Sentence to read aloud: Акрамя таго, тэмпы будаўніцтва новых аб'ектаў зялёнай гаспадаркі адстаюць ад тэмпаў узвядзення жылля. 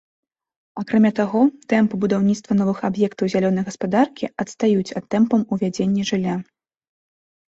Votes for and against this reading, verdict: 1, 2, rejected